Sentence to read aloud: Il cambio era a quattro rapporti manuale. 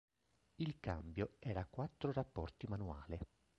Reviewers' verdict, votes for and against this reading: rejected, 0, 2